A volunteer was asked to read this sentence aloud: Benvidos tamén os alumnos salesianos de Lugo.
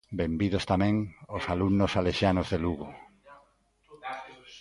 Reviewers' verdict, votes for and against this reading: accepted, 2, 0